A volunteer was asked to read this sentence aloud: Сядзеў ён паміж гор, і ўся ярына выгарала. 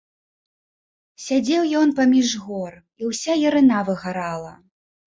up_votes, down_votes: 1, 2